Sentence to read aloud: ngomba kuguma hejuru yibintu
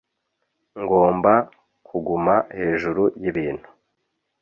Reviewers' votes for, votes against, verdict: 2, 0, accepted